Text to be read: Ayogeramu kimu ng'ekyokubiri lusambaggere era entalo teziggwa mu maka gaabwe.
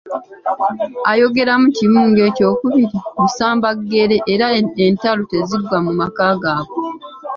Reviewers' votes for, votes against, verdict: 1, 2, rejected